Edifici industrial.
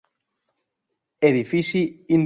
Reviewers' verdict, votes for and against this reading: rejected, 0, 2